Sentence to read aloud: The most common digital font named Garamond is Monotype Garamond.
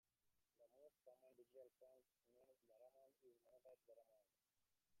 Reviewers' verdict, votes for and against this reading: rejected, 0, 2